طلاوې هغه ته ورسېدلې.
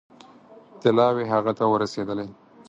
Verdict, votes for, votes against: accepted, 4, 0